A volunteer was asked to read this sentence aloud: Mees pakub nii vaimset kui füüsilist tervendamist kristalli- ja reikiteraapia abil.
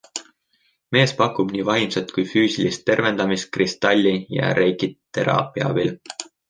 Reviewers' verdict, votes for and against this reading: accepted, 2, 1